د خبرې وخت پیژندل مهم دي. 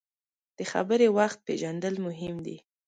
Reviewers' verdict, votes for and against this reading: accepted, 2, 0